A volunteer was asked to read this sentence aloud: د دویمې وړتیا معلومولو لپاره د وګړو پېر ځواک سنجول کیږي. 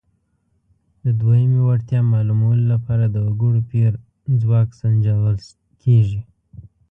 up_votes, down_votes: 2, 0